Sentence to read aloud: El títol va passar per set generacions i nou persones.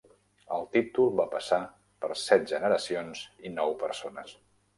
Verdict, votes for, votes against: accepted, 3, 0